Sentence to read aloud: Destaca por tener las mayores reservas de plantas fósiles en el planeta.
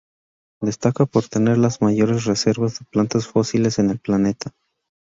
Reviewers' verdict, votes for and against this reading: accepted, 2, 0